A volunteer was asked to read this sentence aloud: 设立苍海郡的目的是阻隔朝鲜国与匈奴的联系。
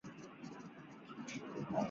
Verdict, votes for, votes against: rejected, 0, 2